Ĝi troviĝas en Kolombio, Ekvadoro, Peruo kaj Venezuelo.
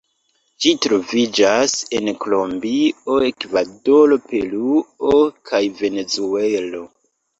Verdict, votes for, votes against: rejected, 1, 2